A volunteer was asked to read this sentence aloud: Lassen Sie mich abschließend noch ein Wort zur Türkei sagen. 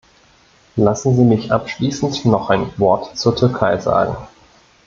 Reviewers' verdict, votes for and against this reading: accepted, 2, 0